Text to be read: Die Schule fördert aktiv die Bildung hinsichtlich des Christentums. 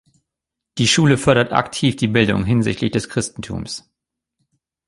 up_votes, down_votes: 1, 2